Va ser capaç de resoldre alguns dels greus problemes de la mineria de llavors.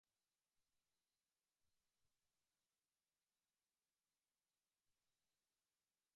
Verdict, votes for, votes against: rejected, 1, 2